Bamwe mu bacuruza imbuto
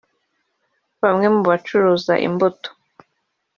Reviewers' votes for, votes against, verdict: 2, 1, accepted